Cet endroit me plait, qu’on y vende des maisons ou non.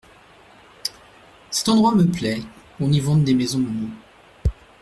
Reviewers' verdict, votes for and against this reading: rejected, 0, 2